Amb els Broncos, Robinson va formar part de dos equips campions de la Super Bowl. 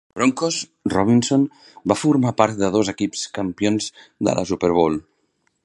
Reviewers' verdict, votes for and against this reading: rejected, 0, 2